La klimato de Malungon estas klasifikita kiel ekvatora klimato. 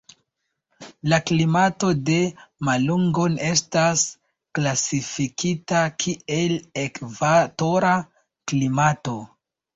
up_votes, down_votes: 2, 0